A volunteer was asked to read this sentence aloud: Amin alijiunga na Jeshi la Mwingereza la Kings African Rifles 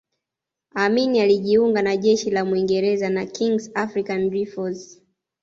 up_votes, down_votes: 2, 1